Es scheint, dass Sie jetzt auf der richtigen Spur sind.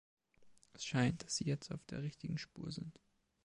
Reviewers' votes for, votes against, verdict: 2, 0, accepted